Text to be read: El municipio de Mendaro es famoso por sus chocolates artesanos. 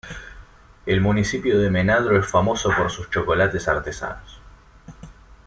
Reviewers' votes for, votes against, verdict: 1, 2, rejected